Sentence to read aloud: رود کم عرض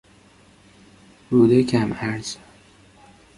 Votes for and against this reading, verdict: 2, 0, accepted